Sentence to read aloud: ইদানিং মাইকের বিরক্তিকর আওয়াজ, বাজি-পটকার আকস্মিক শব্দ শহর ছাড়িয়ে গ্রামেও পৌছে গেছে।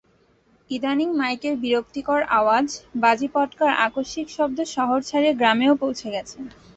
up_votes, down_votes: 2, 0